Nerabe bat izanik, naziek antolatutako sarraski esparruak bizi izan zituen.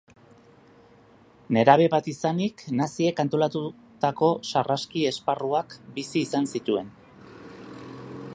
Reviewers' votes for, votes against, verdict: 1, 2, rejected